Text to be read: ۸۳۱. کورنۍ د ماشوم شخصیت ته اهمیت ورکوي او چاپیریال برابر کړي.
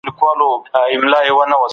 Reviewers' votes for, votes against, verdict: 0, 2, rejected